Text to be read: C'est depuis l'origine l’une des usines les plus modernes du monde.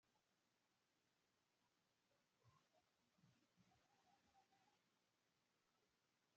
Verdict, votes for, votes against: rejected, 0, 2